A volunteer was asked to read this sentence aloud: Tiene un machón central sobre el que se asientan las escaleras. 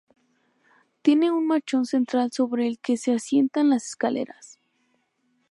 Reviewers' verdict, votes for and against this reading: accepted, 2, 0